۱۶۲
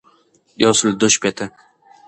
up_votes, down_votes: 0, 2